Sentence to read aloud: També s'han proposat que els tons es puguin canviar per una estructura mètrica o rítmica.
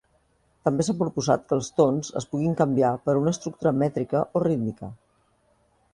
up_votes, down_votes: 0, 2